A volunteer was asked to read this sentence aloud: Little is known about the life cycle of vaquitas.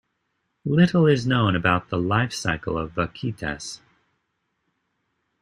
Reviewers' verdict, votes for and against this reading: accepted, 2, 0